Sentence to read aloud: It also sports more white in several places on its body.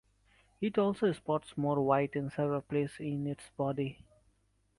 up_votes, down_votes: 1, 2